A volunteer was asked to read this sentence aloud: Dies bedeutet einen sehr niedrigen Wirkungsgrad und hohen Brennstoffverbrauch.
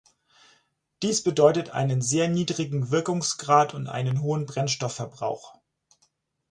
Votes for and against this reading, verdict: 0, 4, rejected